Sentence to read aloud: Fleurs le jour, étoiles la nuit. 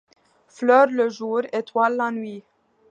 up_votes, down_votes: 2, 0